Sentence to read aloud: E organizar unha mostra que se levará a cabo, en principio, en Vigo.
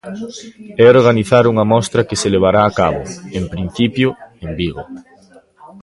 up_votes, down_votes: 1, 2